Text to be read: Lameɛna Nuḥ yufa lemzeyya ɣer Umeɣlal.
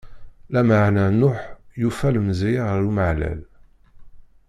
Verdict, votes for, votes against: rejected, 0, 2